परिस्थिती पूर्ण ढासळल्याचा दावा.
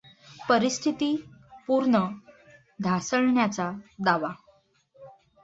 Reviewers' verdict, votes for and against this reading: rejected, 0, 2